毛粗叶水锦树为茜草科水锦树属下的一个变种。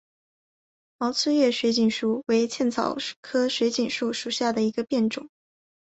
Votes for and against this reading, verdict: 2, 3, rejected